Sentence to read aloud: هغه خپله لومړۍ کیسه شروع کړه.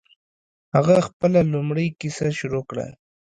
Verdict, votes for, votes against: accepted, 2, 0